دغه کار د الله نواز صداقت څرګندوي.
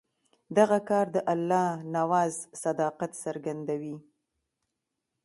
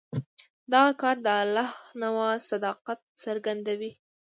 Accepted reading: first